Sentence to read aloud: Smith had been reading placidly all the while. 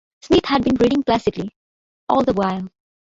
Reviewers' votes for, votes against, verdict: 0, 2, rejected